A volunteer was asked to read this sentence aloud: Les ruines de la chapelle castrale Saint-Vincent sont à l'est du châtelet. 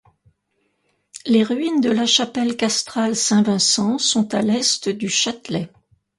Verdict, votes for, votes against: accepted, 2, 0